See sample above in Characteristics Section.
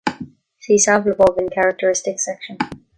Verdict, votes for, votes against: accepted, 2, 0